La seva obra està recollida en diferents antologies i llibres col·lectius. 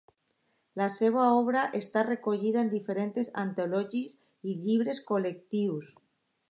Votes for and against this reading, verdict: 0, 2, rejected